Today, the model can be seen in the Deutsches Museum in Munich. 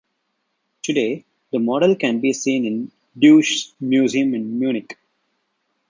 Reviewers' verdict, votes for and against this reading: rejected, 1, 3